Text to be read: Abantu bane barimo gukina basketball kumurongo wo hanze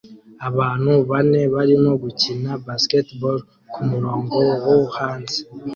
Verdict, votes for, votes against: accepted, 2, 0